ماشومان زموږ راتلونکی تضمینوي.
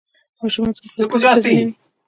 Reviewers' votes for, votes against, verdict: 2, 1, accepted